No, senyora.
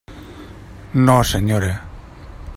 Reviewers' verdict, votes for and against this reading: accepted, 3, 0